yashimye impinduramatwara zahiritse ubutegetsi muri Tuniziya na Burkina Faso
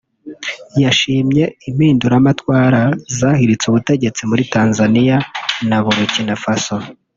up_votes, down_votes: 0, 2